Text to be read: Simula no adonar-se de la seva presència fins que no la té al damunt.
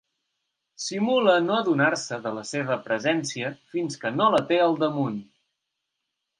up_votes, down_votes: 3, 0